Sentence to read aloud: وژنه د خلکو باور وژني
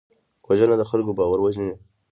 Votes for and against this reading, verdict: 2, 0, accepted